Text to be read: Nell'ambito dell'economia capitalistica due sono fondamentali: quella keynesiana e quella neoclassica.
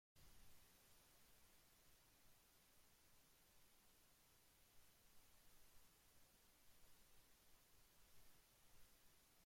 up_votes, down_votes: 0, 2